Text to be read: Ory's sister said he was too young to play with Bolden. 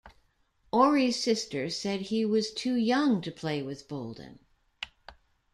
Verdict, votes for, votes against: accepted, 2, 0